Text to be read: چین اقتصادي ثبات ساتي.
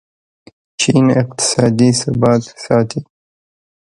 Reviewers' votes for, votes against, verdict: 1, 2, rejected